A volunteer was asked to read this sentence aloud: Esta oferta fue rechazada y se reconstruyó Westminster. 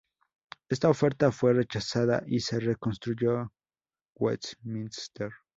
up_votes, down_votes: 2, 0